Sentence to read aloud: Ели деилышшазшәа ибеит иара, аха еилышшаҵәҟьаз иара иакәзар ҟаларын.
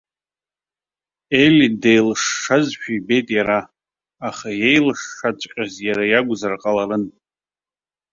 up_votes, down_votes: 2, 0